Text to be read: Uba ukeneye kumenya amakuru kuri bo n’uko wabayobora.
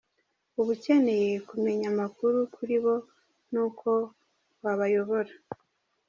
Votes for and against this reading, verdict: 2, 0, accepted